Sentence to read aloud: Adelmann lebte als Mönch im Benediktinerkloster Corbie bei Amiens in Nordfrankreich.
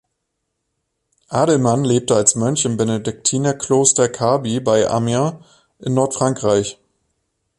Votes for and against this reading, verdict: 1, 2, rejected